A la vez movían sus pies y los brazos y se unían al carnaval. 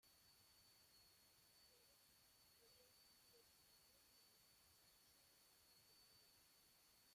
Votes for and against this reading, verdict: 0, 2, rejected